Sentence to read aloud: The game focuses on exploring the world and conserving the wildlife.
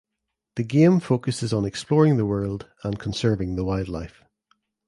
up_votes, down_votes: 2, 0